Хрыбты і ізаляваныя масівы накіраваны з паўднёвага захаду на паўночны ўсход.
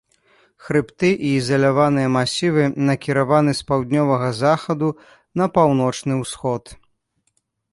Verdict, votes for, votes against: accepted, 2, 0